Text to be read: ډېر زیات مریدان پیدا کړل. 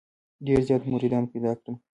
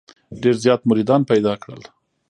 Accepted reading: first